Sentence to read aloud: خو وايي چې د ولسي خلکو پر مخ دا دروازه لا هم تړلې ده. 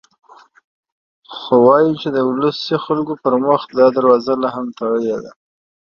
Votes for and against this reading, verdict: 1, 2, rejected